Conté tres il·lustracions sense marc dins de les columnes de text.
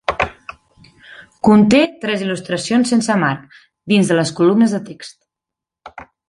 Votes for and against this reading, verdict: 3, 0, accepted